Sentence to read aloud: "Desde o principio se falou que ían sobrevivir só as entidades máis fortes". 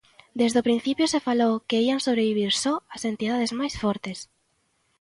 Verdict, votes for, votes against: accepted, 2, 0